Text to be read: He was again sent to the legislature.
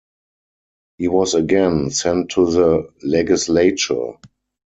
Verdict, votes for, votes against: rejected, 0, 4